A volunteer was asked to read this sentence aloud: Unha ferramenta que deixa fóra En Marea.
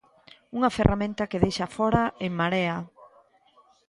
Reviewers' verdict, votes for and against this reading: rejected, 0, 2